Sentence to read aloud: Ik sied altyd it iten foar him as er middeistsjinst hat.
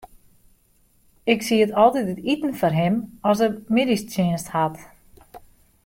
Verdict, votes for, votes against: accepted, 2, 0